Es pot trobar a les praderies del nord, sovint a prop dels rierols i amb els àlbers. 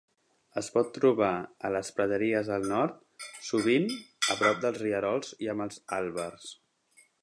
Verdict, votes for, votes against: rejected, 1, 2